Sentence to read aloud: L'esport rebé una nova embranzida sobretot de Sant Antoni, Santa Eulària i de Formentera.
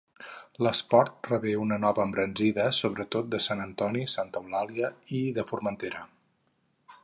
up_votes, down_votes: 2, 2